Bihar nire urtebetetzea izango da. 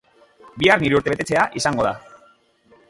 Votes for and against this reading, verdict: 1, 2, rejected